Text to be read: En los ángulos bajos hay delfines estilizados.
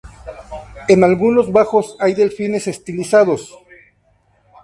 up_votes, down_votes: 0, 2